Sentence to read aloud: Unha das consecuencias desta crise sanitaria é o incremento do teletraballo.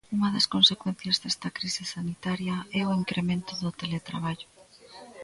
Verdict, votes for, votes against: rejected, 0, 2